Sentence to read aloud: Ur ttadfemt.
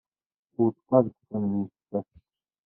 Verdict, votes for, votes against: rejected, 1, 2